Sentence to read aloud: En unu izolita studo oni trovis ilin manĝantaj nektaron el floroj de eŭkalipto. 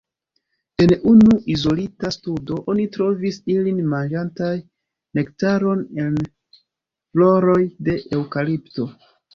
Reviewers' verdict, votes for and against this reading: accepted, 2, 0